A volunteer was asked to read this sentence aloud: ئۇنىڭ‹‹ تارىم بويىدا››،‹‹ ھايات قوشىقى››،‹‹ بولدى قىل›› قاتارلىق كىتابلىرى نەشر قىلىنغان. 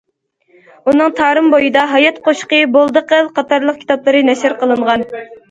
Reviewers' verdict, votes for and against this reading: rejected, 1, 2